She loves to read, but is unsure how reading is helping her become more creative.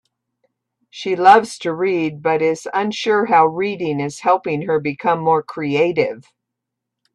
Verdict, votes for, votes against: accepted, 2, 0